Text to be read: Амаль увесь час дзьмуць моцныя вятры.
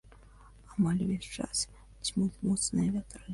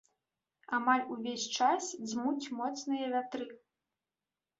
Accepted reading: second